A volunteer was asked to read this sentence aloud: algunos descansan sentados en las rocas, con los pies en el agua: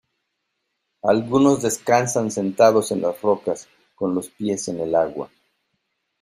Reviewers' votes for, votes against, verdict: 2, 0, accepted